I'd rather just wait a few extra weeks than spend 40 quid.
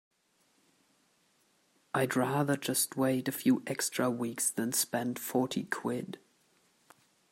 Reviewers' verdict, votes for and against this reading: rejected, 0, 2